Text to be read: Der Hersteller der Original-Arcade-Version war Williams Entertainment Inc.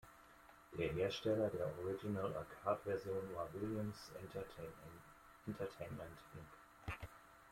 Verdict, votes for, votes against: accepted, 2, 1